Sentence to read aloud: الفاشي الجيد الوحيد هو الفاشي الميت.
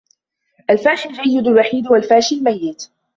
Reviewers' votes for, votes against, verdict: 2, 1, accepted